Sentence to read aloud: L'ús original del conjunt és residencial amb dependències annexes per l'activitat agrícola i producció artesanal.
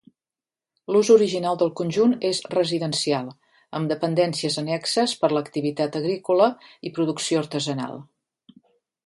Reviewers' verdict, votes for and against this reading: accepted, 2, 0